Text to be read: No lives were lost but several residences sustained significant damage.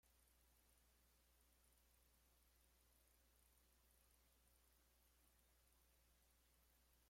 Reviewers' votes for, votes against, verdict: 0, 2, rejected